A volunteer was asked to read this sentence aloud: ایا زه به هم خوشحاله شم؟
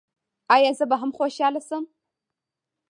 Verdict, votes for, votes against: rejected, 1, 2